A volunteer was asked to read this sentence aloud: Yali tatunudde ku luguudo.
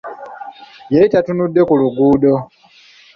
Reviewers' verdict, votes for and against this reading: accepted, 2, 0